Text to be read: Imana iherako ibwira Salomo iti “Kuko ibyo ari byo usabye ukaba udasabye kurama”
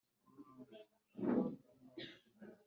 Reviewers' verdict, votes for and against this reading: rejected, 1, 2